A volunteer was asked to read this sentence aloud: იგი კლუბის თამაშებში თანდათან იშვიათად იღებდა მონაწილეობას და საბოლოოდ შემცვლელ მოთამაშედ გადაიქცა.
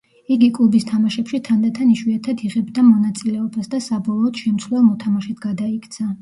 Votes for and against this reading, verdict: 1, 2, rejected